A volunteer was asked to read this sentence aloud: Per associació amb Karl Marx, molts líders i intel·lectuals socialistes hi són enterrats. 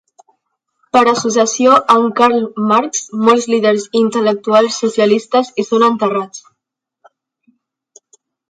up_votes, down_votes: 2, 1